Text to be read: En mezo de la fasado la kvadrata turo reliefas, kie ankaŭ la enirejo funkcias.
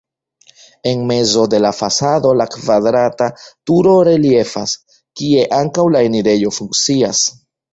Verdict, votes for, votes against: rejected, 1, 2